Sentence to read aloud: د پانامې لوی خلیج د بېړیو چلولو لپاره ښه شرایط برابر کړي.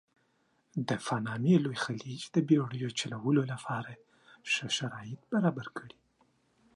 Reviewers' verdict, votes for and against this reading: rejected, 0, 2